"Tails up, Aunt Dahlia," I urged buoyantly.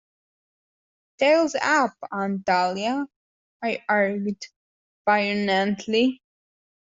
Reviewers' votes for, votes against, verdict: 1, 2, rejected